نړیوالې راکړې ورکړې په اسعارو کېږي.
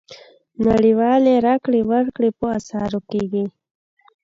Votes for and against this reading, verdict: 0, 2, rejected